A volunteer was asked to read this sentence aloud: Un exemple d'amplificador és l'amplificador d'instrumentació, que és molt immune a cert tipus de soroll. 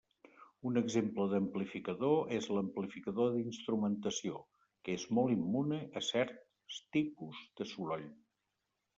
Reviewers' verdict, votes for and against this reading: rejected, 1, 2